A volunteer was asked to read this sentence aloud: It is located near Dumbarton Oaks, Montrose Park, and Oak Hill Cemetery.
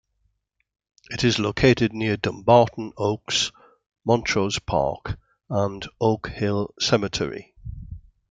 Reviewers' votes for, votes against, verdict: 2, 0, accepted